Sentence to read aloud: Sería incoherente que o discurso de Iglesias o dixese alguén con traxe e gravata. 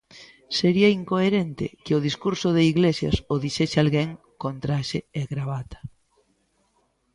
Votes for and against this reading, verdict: 2, 0, accepted